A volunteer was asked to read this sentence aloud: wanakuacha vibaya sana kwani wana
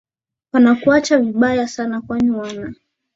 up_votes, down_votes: 2, 0